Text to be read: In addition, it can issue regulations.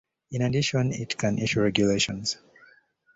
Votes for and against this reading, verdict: 2, 0, accepted